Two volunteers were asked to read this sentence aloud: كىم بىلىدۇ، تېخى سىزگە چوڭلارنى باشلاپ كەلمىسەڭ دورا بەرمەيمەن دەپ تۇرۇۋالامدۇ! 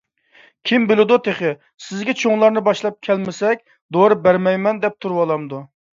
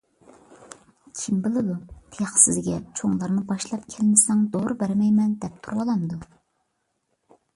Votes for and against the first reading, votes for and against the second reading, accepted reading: 0, 2, 2, 0, second